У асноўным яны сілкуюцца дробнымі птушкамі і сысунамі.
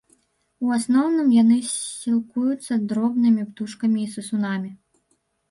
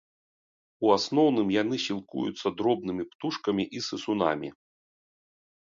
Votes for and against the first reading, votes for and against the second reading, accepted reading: 1, 2, 3, 0, second